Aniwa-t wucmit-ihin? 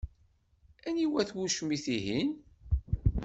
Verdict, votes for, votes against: accepted, 2, 0